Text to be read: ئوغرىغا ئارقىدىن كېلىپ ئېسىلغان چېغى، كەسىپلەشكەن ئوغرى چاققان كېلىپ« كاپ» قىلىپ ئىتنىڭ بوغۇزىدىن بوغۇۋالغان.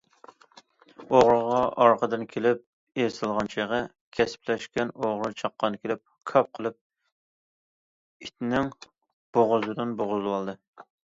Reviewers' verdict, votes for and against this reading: rejected, 0, 2